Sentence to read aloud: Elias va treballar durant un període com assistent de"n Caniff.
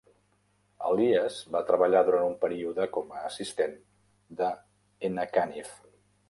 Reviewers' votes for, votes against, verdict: 0, 2, rejected